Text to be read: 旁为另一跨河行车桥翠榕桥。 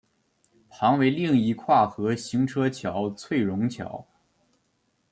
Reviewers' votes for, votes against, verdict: 2, 0, accepted